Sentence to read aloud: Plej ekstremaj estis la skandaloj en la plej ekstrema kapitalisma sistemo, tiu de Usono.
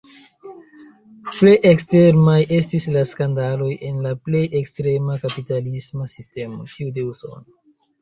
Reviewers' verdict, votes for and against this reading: rejected, 0, 2